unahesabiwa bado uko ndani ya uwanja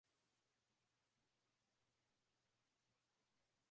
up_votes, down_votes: 0, 3